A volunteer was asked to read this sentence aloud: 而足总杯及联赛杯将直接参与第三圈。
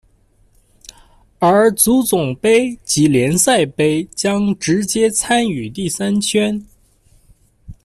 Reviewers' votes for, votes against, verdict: 2, 1, accepted